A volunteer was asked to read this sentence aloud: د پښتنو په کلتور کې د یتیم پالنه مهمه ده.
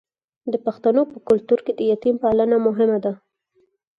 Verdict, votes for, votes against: accepted, 4, 0